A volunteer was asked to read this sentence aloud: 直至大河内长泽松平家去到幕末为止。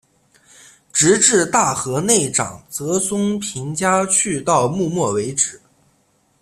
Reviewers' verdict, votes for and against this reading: accepted, 2, 1